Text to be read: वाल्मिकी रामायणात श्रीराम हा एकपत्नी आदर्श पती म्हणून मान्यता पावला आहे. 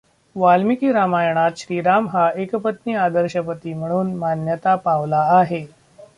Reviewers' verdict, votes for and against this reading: rejected, 0, 2